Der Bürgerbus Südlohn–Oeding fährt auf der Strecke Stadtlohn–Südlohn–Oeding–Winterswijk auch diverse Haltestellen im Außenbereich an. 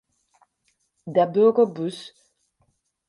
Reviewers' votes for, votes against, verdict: 0, 4, rejected